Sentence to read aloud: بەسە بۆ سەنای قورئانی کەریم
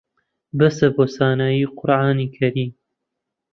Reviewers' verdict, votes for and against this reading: rejected, 0, 2